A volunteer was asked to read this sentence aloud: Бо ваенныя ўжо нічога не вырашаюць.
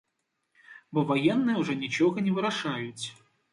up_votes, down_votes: 1, 2